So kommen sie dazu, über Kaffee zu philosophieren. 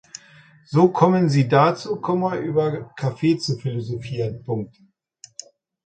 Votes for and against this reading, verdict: 0, 2, rejected